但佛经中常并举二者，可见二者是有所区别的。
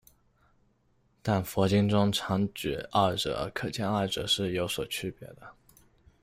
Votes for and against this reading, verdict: 0, 2, rejected